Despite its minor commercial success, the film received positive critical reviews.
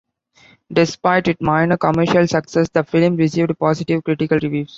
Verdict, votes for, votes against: accepted, 2, 0